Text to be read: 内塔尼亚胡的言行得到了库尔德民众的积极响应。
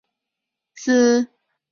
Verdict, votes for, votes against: rejected, 0, 5